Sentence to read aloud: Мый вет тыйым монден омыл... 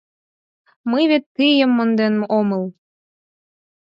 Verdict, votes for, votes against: rejected, 2, 4